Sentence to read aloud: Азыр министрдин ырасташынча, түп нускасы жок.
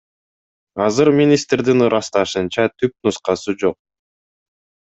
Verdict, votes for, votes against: accepted, 2, 0